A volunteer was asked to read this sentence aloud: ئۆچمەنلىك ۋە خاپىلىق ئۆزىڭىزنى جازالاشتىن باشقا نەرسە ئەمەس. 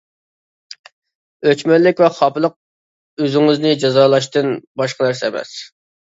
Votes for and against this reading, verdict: 2, 0, accepted